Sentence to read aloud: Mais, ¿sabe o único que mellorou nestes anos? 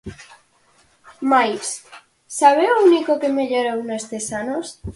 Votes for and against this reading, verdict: 4, 0, accepted